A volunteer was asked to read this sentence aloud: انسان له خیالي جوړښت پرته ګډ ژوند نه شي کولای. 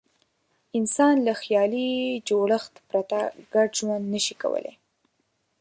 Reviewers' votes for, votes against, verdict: 2, 0, accepted